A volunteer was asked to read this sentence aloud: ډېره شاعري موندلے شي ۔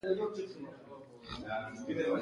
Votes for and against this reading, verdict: 1, 2, rejected